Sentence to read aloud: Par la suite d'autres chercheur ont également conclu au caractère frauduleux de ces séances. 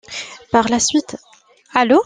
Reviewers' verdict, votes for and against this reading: rejected, 0, 2